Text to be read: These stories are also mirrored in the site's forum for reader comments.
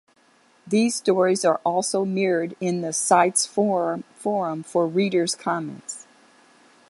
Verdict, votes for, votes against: rejected, 1, 2